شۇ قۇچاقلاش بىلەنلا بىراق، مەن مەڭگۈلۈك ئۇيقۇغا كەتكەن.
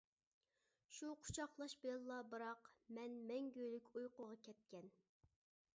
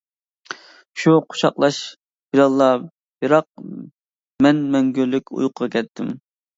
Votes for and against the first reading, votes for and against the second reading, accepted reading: 2, 0, 0, 2, first